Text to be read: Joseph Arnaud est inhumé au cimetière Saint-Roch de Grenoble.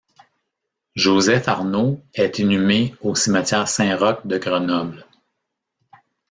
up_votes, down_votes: 0, 2